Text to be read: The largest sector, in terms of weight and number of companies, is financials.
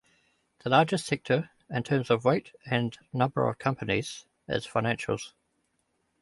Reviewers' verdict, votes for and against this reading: accepted, 2, 0